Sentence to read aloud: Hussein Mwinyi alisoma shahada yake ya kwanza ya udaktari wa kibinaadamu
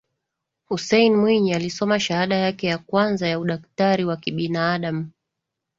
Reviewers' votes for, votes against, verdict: 2, 0, accepted